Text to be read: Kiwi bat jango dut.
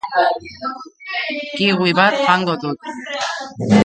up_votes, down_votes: 2, 0